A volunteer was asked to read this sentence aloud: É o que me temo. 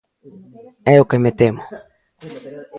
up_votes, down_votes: 2, 1